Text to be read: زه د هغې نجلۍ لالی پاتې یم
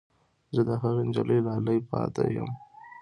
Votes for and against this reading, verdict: 2, 0, accepted